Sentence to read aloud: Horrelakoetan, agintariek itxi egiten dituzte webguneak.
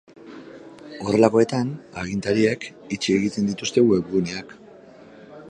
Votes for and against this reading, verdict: 2, 1, accepted